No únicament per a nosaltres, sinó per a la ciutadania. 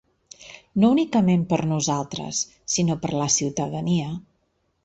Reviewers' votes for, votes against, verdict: 1, 2, rejected